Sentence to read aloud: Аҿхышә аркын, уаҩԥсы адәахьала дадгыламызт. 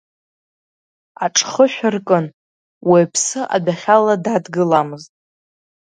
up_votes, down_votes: 2, 0